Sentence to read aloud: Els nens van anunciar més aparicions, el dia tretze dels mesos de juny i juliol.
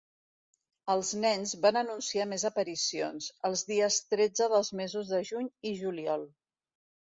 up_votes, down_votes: 0, 2